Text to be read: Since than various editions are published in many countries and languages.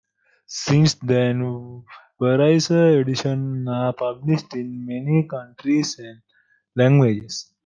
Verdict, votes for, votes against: rejected, 0, 2